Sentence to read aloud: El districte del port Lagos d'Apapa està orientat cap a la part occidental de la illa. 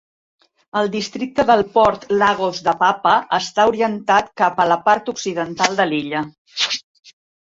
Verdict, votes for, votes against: rejected, 1, 2